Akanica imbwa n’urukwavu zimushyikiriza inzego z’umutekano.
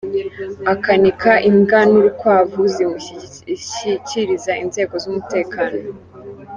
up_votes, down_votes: 0, 3